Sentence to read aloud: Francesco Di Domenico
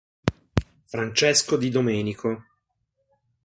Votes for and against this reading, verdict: 3, 0, accepted